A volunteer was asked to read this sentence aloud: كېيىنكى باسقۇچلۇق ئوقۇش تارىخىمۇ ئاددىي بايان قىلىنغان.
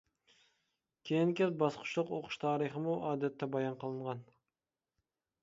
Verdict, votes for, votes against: rejected, 0, 2